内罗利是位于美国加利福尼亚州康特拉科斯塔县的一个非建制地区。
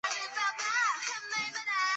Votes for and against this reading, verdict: 0, 2, rejected